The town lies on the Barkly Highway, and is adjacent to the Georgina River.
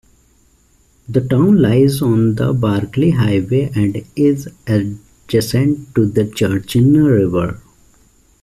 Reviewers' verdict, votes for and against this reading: rejected, 0, 2